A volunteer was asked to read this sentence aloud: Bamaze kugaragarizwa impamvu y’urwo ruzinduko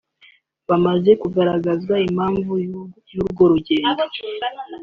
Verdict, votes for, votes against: rejected, 0, 2